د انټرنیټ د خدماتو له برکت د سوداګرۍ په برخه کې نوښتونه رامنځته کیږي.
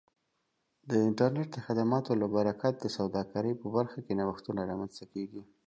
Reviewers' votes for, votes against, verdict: 2, 0, accepted